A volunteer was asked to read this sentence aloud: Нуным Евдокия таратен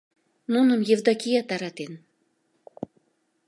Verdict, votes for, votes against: accepted, 2, 0